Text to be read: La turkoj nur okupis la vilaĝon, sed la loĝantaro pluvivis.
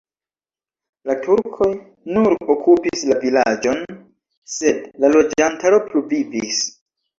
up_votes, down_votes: 2, 0